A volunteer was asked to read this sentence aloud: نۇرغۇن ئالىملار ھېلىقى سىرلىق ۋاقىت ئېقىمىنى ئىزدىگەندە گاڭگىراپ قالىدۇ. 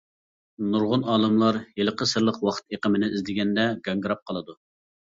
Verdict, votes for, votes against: accepted, 2, 0